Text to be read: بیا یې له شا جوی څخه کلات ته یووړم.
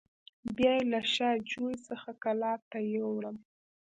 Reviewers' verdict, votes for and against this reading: rejected, 0, 2